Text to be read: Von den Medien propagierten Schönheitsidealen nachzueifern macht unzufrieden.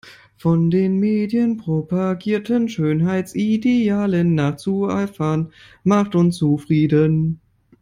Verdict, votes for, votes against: accepted, 2, 1